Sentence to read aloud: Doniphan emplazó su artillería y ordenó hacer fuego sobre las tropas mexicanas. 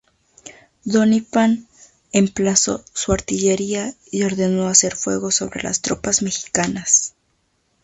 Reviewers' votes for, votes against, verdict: 0, 2, rejected